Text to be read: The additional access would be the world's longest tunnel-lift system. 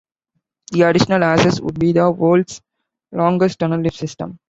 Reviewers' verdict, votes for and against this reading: rejected, 0, 2